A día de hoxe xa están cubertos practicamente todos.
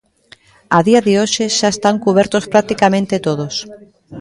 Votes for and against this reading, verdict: 2, 0, accepted